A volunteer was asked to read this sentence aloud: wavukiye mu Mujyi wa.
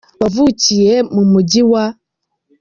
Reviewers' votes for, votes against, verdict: 2, 0, accepted